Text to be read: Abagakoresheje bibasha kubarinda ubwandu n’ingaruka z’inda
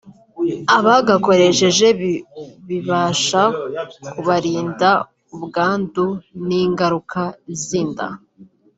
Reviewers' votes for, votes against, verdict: 0, 3, rejected